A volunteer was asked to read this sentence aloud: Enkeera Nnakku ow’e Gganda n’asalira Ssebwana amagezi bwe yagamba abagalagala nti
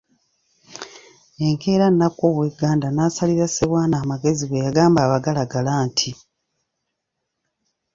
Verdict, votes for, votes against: rejected, 1, 2